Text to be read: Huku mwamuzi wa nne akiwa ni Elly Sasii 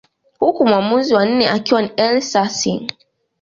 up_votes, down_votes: 2, 1